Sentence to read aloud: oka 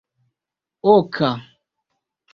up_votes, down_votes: 2, 0